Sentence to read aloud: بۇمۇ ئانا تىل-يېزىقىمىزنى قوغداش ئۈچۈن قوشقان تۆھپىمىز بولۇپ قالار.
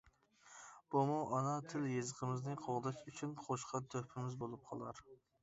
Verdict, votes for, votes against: accepted, 2, 0